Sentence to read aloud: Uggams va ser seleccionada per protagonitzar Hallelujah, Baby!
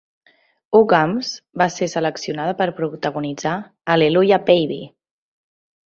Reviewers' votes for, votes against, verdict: 0, 2, rejected